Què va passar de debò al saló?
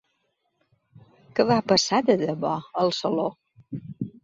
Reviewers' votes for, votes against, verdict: 2, 0, accepted